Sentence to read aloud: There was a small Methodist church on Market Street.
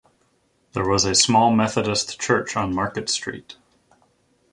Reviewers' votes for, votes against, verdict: 2, 0, accepted